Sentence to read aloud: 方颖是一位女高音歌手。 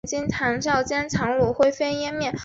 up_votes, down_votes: 2, 0